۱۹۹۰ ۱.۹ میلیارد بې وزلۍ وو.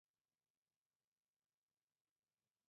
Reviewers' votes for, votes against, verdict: 0, 2, rejected